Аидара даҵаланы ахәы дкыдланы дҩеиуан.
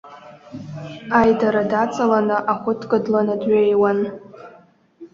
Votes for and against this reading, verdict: 0, 2, rejected